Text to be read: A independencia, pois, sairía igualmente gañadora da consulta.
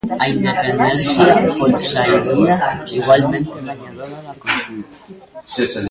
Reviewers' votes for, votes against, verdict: 0, 2, rejected